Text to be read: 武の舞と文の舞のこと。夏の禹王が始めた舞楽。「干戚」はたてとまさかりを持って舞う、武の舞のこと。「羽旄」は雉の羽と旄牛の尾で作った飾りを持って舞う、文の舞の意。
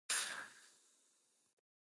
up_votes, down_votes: 0, 2